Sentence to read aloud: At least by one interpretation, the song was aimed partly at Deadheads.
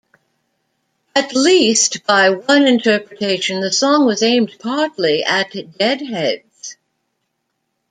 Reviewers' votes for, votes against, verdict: 0, 2, rejected